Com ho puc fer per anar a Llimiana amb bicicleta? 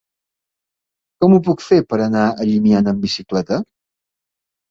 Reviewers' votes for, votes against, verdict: 2, 0, accepted